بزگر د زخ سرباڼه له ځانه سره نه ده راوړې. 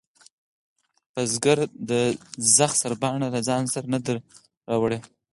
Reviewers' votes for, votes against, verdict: 2, 4, rejected